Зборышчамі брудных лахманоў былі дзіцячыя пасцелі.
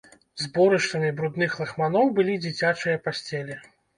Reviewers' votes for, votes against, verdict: 1, 2, rejected